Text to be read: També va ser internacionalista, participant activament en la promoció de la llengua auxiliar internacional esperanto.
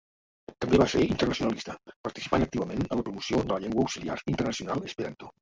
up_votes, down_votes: 0, 2